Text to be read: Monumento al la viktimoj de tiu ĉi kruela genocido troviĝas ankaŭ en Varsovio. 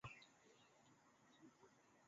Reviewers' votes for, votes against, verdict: 0, 2, rejected